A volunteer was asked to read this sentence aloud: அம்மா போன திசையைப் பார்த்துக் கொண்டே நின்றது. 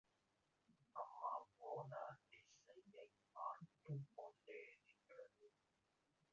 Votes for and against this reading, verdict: 0, 2, rejected